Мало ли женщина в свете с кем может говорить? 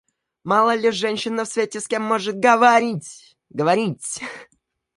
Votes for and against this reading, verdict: 0, 2, rejected